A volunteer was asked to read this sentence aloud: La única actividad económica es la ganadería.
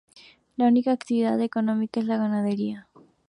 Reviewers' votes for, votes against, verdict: 4, 0, accepted